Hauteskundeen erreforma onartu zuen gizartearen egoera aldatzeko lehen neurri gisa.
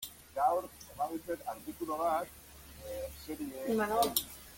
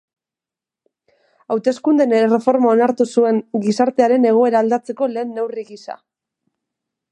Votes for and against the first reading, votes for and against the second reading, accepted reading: 0, 2, 2, 0, second